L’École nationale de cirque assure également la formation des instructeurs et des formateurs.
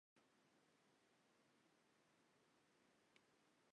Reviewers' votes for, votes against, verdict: 1, 2, rejected